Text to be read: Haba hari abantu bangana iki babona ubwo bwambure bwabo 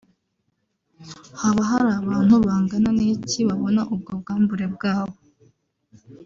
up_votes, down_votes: 1, 2